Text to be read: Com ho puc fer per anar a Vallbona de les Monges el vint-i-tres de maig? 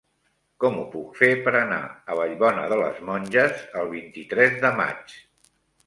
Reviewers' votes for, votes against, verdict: 3, 0, accepted